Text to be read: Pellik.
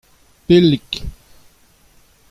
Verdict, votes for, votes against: accepted, 2, 0